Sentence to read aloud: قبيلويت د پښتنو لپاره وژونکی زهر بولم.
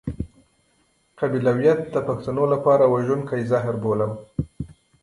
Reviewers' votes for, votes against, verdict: 2, 0, accepted